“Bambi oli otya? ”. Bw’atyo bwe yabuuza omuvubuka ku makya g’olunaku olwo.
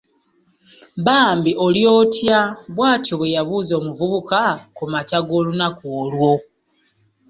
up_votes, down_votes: 2, 1